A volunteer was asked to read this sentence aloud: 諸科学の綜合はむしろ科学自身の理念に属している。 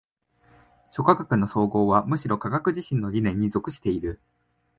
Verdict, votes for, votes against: accepted, 4, 0